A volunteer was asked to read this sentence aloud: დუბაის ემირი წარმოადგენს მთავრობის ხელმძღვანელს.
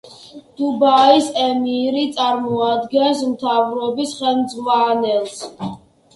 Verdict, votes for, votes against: rejected, 1, 2